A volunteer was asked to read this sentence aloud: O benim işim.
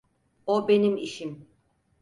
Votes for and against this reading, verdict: 4, 0, accepted